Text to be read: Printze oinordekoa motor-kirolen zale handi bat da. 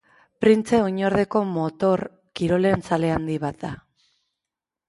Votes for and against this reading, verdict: 0, 4, rejected